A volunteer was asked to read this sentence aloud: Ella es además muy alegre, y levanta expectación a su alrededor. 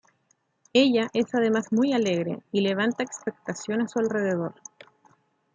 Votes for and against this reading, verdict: 2, 0, accepted